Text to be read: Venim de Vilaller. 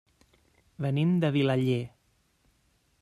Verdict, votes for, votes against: accepted, 3, 0